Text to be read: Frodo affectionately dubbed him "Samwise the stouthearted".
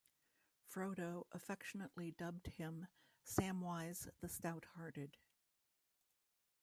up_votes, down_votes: 2, 0